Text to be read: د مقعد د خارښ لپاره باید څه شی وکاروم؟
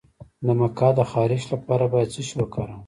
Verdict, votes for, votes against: rejected, 0, 2